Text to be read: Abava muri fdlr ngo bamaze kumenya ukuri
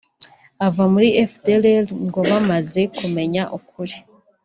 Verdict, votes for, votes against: accepted, 2, 0